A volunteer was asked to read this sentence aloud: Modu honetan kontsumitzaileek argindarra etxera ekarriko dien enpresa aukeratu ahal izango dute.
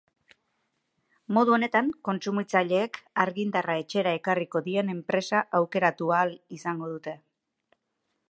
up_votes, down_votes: 4, 0